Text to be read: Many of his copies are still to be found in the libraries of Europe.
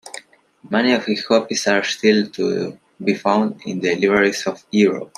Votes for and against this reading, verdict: 0, 2, rejected